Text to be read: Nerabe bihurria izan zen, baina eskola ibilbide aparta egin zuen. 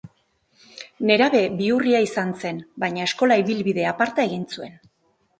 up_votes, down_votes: 4, 0